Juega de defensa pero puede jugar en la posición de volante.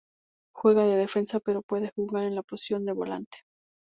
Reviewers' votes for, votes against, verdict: 2, 0, accepted